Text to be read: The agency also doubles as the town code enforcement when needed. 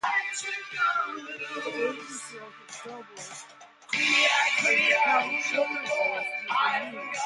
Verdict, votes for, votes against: rejected, 0, 2